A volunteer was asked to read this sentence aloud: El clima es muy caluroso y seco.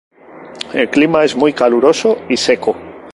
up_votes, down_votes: 2, 0